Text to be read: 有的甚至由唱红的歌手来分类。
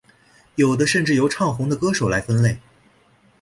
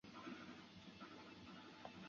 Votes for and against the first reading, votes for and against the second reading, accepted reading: 3, 0, 0, 2, first